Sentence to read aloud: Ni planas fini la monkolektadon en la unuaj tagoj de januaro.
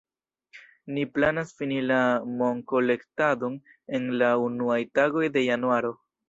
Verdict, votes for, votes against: accepted, 2, 0